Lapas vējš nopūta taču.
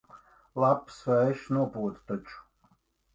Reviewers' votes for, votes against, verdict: 2, 1, accepted